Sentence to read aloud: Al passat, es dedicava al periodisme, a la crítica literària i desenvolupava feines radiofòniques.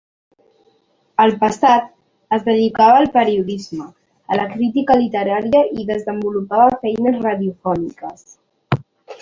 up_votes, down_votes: 3, 0